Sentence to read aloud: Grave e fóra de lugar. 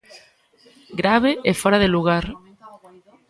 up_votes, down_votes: 2, 0